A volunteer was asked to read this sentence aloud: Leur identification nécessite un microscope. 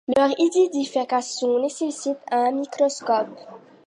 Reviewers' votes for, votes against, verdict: 2, 1, accepted